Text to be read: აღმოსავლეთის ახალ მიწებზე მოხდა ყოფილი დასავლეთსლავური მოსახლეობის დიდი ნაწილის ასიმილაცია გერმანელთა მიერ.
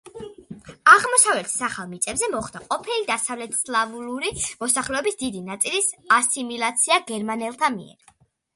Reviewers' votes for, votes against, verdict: 2, 0, accepted